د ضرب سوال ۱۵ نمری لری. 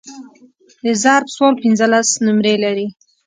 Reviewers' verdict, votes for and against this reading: rejected, 0, 2